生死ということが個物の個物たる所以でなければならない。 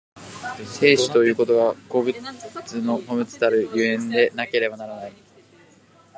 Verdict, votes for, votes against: rejected, 1, 2